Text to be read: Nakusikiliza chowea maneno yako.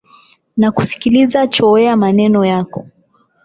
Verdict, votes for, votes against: rejected, 4, 8